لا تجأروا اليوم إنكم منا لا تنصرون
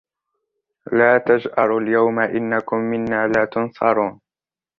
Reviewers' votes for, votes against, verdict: 1, 2, rejected